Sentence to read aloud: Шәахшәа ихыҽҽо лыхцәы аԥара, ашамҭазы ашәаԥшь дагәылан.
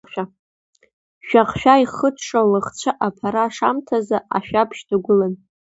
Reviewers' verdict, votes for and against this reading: rejected, 1, 2